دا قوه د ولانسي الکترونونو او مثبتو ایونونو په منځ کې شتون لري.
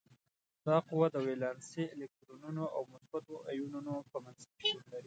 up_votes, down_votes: 1, 2